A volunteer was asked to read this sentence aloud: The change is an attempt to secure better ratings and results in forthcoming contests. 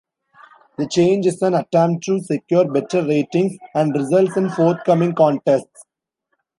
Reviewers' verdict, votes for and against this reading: rejected, 1, 2